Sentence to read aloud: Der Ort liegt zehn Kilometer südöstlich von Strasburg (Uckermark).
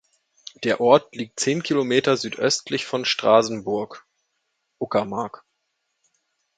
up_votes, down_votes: 0, 2